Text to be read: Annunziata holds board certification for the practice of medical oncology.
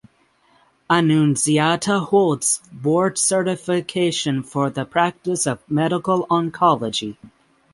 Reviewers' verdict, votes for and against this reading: accepted, 9, 0